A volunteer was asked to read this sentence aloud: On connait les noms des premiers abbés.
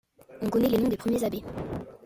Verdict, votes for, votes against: accepted, 2, 0